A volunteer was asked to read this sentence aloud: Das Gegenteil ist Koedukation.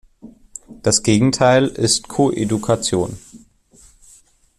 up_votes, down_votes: 2, 0